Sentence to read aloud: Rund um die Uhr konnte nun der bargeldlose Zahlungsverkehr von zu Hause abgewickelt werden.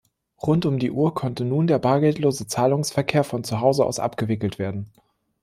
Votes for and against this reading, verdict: 0, 2, rejected